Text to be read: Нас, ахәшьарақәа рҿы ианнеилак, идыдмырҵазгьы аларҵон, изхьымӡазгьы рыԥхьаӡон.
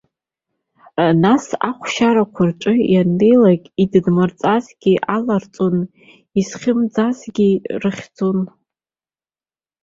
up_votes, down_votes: 0, 2